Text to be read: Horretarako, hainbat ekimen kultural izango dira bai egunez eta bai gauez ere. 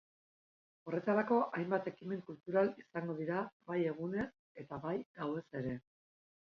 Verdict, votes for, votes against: accepted, 3, 0